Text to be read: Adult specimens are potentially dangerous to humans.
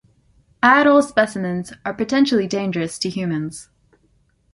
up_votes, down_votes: 2, 0